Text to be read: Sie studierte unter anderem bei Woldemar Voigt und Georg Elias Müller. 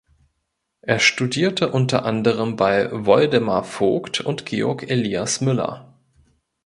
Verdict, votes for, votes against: rejected, 1, 3